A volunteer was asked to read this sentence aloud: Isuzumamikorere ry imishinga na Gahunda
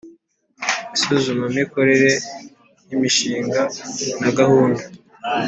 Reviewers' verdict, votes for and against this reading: accepted, 2, 0